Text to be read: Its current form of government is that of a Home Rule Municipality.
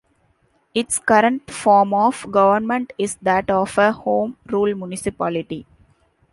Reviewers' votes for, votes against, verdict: 3, 0, accepted